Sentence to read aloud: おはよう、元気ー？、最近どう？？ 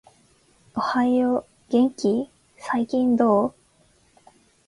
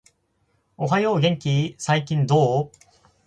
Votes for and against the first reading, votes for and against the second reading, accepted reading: 2, 1, 0, 4, first